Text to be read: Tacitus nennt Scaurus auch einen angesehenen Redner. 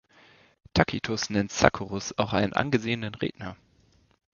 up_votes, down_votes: 0, 2